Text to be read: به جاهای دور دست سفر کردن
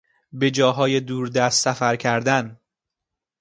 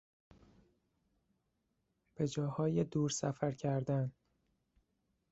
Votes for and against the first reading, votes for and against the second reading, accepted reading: 2, 0, 0, 2, first